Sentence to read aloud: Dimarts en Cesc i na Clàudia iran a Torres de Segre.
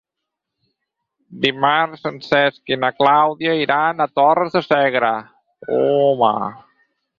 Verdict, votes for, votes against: rejected, 0, 4